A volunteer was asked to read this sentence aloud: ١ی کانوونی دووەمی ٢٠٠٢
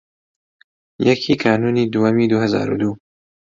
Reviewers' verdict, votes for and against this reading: rejected, 0, 2